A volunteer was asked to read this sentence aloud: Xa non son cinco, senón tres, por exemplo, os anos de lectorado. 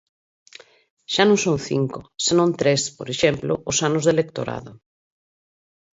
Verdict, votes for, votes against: accepted, 4, 0